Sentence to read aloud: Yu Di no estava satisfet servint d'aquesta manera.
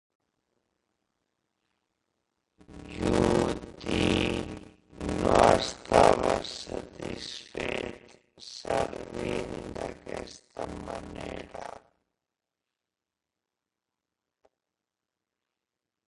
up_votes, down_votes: 0, 2